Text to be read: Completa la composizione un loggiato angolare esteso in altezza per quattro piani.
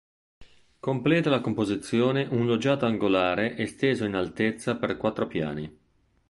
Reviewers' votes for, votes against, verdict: 2, 0, accepted